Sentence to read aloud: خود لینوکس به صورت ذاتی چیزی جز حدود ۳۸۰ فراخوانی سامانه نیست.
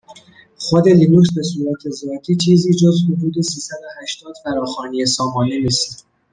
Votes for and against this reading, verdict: 0, 2, rejected